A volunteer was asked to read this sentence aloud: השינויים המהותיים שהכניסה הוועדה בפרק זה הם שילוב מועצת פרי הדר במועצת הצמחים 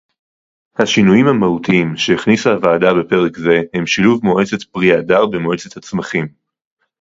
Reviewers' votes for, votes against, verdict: 2, 2, rejected